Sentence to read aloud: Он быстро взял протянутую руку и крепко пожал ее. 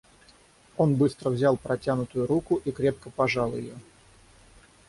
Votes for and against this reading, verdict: 6, 0, accepted